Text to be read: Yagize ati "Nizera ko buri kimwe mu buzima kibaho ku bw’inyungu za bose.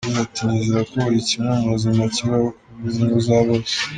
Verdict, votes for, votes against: rejected, 0, 2